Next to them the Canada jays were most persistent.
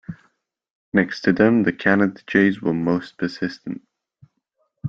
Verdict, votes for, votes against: accepted, 2, 0